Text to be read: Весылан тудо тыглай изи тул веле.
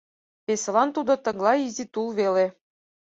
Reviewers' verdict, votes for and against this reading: accepted, 6, 0